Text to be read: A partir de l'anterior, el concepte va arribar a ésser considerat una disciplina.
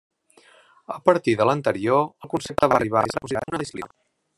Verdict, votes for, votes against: rejected, 0, 2